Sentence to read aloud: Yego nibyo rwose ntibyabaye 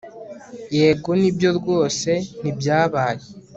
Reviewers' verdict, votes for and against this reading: accepted, 4, 1